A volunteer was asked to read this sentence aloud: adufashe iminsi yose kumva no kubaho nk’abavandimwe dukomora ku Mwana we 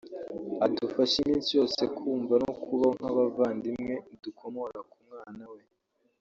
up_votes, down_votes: 0, 2